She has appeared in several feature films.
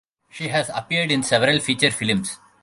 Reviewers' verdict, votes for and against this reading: accepted, 2, 1